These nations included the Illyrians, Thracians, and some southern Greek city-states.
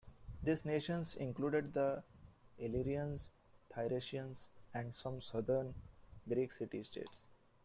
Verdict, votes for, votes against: rejected, 0, 2